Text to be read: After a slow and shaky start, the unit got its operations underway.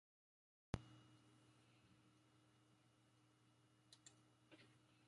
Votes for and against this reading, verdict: 0, 2, rejected